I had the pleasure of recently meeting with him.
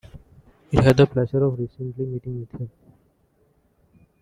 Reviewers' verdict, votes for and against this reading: accepted, 2, 1